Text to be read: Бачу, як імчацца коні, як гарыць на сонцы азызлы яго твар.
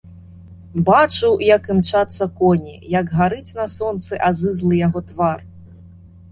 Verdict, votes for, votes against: accepted, 2, 0